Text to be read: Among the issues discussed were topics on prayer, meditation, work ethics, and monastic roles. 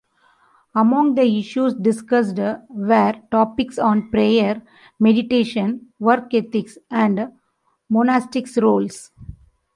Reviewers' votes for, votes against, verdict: 1, 2, rejected